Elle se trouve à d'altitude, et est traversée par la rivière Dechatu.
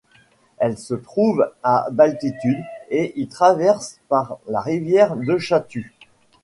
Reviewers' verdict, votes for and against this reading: rejected, 0, 2